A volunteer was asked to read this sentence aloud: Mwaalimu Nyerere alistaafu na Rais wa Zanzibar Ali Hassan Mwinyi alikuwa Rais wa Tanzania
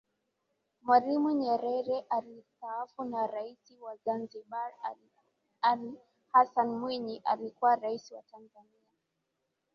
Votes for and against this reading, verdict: 2, 0, accepted